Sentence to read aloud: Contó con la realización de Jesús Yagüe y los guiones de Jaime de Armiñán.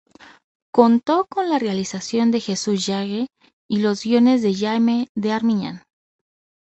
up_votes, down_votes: 0, 2